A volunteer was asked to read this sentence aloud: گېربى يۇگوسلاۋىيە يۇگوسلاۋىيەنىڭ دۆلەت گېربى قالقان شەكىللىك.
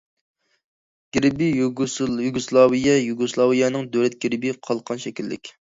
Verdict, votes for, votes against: rejected, 0, 2